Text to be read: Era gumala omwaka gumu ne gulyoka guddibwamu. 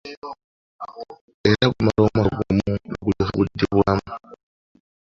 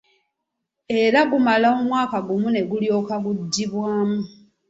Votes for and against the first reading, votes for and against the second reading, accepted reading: 0, 2, 2, 0, second